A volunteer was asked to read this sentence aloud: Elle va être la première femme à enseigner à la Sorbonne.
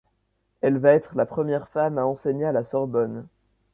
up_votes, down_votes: 2, 0